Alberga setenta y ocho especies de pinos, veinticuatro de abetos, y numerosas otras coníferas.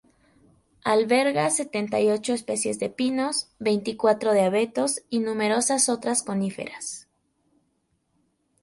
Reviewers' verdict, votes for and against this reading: accepted, 2, 0